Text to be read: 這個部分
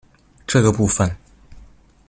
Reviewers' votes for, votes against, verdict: 2, 1, accepted